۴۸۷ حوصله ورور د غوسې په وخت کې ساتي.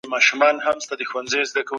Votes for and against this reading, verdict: 0, 2, rejected